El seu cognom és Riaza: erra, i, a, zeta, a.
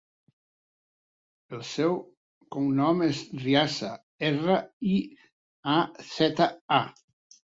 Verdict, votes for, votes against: accepted, 4, 0